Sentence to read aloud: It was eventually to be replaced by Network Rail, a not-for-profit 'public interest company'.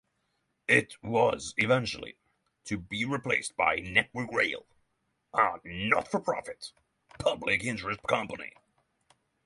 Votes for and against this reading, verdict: 3, 0, accepted